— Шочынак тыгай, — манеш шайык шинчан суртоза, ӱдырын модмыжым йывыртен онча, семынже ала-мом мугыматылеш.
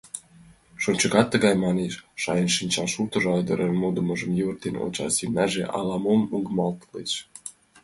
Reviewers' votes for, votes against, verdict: 0, 2, rejected